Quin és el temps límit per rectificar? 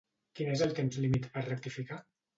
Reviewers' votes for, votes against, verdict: 2, 0, accepted